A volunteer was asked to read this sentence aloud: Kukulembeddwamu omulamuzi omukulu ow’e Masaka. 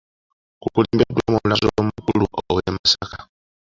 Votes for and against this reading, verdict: 1, 2, rejected